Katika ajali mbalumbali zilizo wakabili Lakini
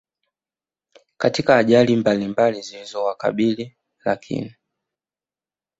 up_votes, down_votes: 2, 0